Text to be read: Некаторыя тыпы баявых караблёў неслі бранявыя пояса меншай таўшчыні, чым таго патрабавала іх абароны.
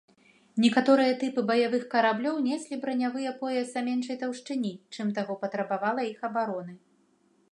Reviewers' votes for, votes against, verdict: 2, 1, accepted